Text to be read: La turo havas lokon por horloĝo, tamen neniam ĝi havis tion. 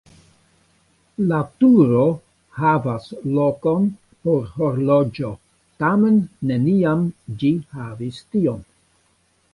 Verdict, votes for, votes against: accepted, 2, 1